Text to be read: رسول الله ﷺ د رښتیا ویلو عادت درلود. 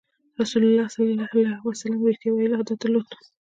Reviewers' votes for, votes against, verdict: 2, 0, accepted